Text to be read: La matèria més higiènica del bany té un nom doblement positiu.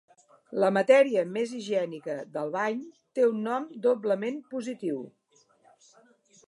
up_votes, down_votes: 2, 0